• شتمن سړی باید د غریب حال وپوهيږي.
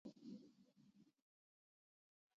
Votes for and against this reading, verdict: 0, 2, rejected